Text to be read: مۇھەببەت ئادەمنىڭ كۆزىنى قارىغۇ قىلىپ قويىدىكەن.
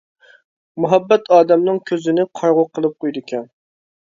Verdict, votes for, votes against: accepted, 2, 0